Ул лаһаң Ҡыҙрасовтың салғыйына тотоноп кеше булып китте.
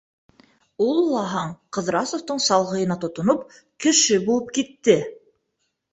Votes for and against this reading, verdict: 2, 0, accepted